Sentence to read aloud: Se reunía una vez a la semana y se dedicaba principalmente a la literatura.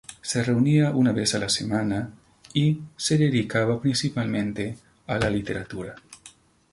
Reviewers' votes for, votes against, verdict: 0, 2, rejected